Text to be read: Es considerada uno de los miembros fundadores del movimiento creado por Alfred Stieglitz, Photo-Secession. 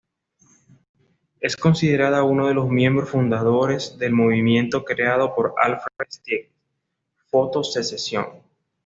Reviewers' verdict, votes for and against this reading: accepted, 2, 1